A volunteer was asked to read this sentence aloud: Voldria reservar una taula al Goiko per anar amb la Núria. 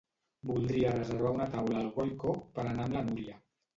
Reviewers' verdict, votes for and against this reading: accepted, 2, 0